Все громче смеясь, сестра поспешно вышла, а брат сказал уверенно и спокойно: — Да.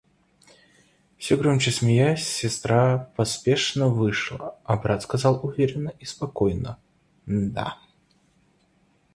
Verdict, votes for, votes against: rejected, 1, 2